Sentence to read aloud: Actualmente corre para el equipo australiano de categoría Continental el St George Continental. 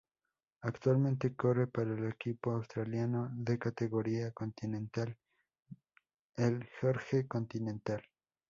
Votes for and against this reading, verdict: 2, 4, rejected